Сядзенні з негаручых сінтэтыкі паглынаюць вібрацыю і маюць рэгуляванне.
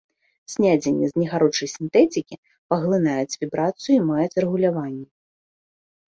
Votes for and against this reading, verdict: 0, 2, rejected